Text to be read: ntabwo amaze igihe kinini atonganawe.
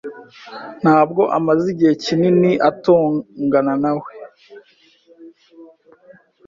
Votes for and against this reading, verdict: 1, 2, rejected